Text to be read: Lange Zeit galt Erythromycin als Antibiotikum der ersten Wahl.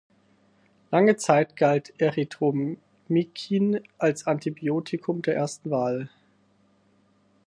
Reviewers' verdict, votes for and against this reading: rejected, 2, 4